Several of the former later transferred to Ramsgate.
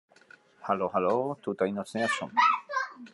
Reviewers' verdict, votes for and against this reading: rejected, 0, 2